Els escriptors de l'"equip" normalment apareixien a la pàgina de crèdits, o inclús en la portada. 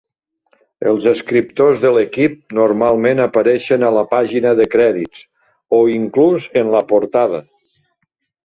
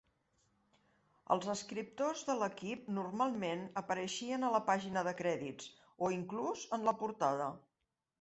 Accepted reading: second